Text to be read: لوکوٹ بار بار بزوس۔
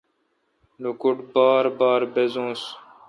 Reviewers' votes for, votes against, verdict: 2, 0, accepted